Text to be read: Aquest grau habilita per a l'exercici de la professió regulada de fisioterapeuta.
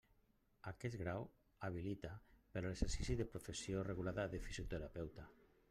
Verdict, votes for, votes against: rejected, 1, 2